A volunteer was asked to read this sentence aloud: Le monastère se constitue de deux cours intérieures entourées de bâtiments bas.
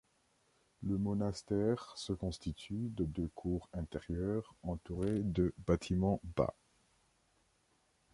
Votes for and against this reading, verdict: 2, 1, accepted